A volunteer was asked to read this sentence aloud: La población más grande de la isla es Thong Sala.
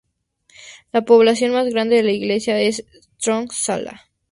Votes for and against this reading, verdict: 0, 4, rejected